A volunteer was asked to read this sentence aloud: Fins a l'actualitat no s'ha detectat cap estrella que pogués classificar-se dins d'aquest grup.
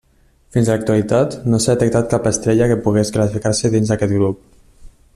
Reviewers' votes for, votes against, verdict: 1, 2, rejected